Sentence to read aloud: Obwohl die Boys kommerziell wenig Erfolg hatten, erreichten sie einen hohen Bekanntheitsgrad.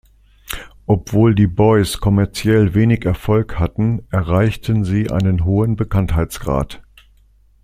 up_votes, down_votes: 2, 0